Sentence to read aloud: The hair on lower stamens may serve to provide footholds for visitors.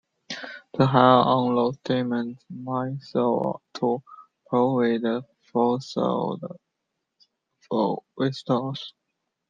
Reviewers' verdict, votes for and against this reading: rejected, 1, 2